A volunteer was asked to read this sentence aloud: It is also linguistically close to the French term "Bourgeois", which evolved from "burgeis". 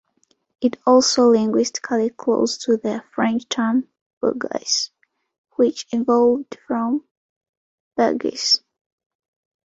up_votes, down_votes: 2, 0